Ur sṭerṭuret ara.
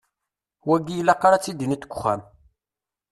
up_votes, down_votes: 0, 2